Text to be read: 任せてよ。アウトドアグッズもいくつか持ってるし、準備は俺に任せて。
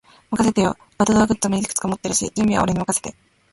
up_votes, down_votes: 0, 2